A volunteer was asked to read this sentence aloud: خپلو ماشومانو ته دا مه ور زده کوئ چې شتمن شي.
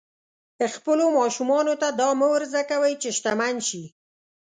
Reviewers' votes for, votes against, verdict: 2, 0, accepted